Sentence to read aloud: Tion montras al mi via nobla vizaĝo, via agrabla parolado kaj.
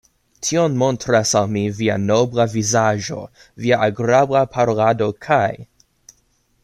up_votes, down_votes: 0, 2